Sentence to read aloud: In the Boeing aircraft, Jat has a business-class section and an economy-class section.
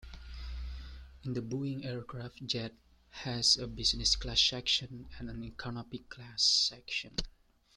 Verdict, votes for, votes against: rejected, 1, 2